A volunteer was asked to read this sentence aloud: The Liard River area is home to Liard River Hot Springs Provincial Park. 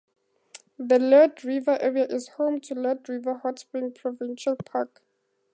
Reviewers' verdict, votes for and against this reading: accepted, 2, 0